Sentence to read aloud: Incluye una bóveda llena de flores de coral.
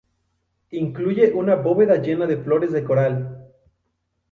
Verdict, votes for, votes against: accepted, 2, 0